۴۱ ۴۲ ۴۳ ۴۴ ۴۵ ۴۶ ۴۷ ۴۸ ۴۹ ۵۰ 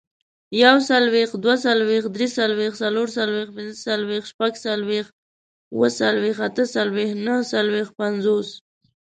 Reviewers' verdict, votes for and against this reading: rejected, 0, 2